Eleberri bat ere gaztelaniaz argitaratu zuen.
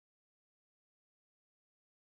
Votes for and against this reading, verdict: 0, 2, rejected